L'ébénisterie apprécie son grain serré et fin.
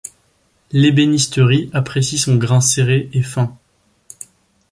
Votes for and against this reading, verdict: 2, 1, accepted